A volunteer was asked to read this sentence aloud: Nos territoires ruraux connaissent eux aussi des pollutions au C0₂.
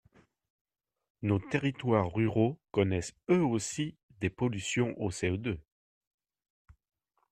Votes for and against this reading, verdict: 0, 2, rejected